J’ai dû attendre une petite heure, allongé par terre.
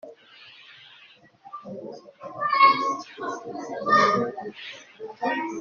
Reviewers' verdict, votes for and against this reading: rejected, 0, 2